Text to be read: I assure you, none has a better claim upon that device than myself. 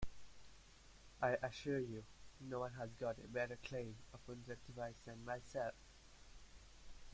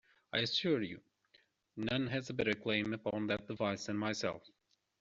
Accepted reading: second